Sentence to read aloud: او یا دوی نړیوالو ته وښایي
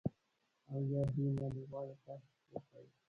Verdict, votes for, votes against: rejected, 0, 2